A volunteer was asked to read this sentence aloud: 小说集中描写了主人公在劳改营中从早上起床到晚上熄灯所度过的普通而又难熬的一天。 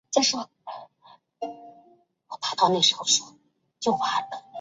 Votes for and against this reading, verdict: 0, 2, rejected